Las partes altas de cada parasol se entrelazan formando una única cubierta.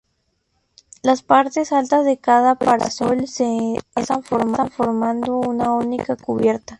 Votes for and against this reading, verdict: 0, 2, rejected